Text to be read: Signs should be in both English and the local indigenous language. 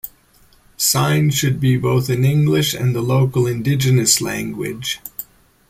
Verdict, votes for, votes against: accepted, 2, 0